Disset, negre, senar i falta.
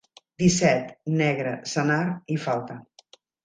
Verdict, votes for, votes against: accepted, 3, 0